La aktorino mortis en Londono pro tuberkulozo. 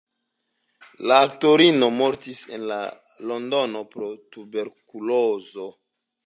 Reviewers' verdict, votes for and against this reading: accepted, 2, 0